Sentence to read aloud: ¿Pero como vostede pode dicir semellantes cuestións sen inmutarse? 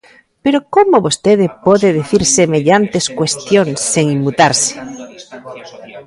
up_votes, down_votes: 2, 1